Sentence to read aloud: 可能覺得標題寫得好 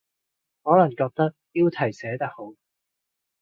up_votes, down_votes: 3, 0